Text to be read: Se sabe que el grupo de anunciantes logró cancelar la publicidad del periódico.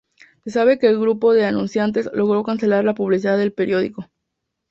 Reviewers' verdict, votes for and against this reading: accepted, 2, 0